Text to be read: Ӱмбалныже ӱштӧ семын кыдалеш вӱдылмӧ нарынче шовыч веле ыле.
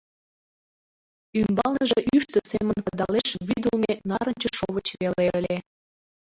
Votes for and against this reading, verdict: 0, 2, rejected